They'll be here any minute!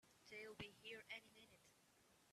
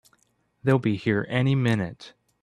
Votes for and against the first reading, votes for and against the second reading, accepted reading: 1, 2, 2, 0, second